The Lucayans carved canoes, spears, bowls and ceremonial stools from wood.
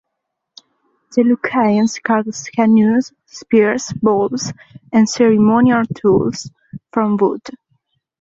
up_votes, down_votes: 1, 3